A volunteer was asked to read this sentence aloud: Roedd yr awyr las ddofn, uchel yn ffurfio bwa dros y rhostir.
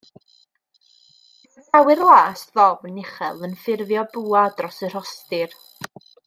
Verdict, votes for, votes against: rejected, 0, 2